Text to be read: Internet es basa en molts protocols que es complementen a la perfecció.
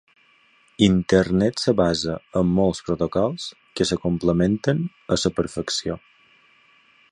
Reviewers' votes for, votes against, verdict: 2, 1, accepted